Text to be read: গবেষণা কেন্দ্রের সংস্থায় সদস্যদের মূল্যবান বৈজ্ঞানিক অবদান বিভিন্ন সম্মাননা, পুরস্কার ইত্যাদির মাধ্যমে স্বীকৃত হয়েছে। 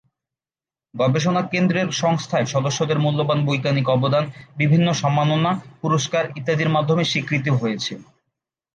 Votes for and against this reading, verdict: 2, 0, accepted